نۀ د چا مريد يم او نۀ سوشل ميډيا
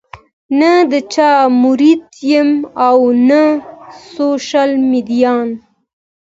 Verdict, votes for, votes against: accepted, 2, 0